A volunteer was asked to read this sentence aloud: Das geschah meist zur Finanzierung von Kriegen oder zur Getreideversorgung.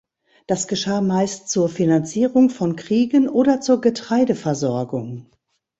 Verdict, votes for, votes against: accepted, 2, 0